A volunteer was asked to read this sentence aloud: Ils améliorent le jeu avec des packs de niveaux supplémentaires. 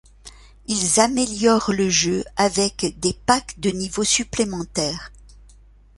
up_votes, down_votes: 2, 0